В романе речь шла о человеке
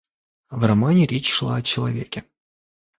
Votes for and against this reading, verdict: 2, 0, accepted